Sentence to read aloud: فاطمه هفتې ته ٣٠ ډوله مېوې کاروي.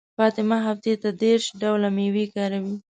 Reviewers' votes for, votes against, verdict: 0, 2, rejected